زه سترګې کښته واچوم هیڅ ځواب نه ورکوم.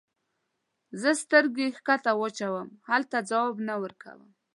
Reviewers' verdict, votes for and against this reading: rejected, 0, 2